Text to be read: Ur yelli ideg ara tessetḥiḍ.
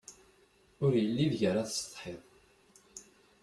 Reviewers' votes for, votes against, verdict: 2, 0, accepted